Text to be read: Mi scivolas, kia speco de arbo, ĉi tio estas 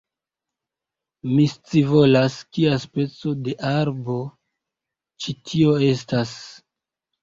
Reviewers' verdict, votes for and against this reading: accepted, 2, 0